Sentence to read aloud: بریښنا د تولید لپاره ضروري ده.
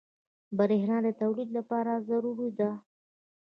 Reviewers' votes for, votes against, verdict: 2, 0, accepted